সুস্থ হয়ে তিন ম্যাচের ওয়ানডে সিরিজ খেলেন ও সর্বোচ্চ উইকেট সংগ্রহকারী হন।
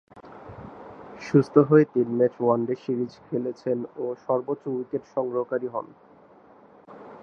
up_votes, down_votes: 0, 2